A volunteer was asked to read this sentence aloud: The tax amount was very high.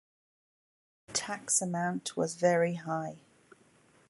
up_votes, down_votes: 2, 1